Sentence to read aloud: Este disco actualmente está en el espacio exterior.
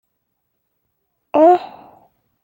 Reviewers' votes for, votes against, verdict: 0, 2, rejected